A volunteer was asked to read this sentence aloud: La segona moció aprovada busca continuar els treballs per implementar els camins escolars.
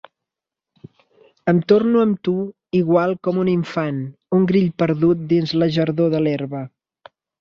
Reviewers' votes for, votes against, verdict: 0, 2, rejected